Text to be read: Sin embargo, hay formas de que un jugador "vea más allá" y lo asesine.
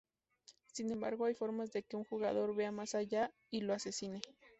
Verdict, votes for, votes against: accepted, 4, 0